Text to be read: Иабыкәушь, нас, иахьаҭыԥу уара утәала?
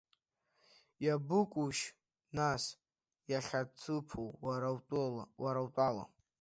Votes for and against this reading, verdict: 0, 2, rejected